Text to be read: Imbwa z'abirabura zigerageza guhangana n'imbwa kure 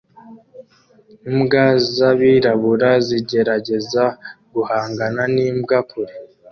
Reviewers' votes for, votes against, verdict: 2, 0, accepted